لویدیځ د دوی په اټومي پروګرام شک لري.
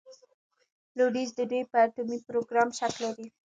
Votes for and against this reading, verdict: 1, 2, rejected